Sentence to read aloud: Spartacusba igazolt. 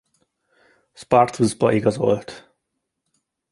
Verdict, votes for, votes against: rejected, 1, 2